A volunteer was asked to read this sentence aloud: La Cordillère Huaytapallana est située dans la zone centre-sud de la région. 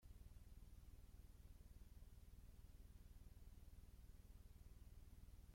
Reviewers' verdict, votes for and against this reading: rejected, 0, 2